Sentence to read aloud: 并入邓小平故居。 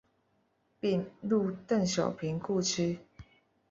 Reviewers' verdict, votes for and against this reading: accepted, 2, 0